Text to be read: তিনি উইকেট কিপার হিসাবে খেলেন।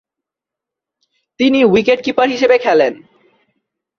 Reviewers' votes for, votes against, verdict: 3, 0, accepted